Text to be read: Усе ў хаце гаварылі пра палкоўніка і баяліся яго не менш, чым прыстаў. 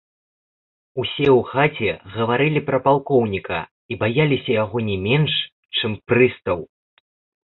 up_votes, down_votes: 0, 2